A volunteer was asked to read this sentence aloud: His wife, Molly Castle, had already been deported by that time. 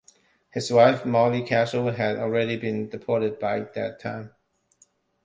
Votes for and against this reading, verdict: 2, 0, accepted